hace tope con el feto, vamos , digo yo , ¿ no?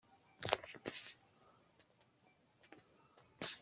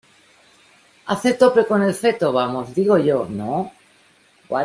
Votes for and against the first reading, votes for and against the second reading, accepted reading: 0, 2, 2, 0, second